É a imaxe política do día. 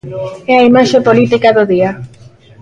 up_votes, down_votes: 2, 0